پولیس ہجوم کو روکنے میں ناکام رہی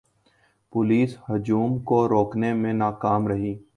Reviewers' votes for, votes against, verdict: 2, 0, accepted